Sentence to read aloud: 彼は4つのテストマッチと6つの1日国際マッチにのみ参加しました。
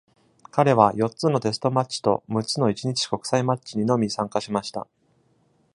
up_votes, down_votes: 0, 2